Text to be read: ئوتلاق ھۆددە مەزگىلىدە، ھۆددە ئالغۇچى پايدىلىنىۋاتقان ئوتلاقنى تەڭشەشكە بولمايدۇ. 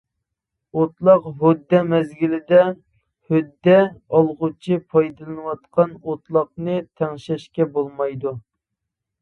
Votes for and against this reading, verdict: 1, 2, rejected